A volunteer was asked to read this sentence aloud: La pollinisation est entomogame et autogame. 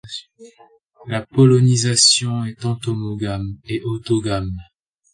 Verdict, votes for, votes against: rejected, 1, 2